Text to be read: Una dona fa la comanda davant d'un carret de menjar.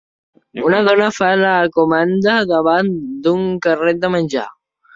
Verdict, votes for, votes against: accepted, 3, 0